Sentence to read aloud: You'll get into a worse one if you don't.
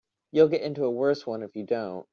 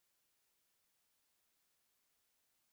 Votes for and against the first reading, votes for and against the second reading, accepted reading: 3, 0, 0, 2, first